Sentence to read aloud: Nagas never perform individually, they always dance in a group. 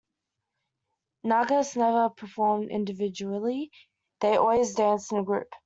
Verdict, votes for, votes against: accepted, 2, 0